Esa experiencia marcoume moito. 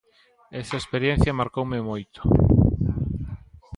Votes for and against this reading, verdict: 2, 1, accepted